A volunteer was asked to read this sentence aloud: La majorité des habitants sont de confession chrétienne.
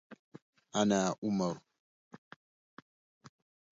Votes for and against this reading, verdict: 0, 2, rejected